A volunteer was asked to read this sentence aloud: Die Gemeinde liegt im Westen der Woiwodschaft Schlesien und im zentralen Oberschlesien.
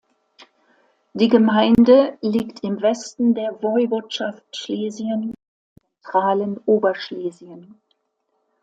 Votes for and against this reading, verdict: 0, 2, rejected